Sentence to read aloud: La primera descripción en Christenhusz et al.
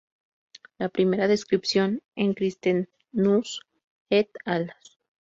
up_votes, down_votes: 0, 2